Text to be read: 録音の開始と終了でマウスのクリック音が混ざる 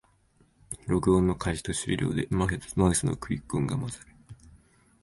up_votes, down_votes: 1, 2